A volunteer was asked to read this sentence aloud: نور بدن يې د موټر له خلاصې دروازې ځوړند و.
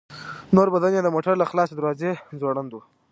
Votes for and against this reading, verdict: 1, 2, rejected